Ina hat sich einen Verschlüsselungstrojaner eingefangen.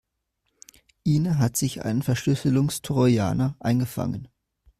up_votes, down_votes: 2, 0